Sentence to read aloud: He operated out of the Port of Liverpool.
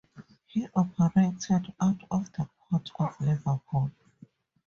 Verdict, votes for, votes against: accepted, 4, 0